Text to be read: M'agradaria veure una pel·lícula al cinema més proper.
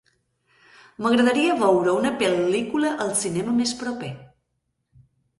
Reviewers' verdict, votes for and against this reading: accepted, 3, 0